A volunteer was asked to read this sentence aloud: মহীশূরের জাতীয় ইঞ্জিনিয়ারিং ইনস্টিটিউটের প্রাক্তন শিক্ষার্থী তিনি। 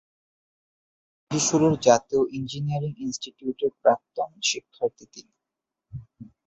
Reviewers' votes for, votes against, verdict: 2, 5, rejected